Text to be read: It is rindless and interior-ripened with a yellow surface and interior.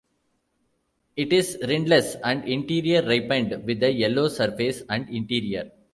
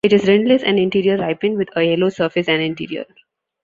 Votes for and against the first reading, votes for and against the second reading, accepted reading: 2, 0, 1, 2, first